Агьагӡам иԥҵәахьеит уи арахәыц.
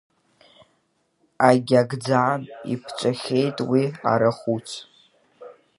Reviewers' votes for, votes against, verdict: 0, 2, rejected